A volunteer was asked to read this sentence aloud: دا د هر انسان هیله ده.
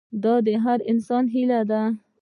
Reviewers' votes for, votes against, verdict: 1, 2, rejected